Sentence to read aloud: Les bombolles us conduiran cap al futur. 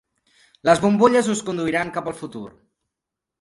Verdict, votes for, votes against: accepted, 4, 0